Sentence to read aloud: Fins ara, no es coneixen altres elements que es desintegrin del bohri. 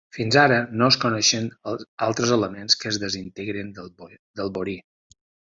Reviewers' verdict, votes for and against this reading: rejected, 0, 2